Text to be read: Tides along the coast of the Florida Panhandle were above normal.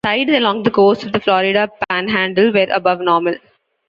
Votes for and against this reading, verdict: 2, 0, accepted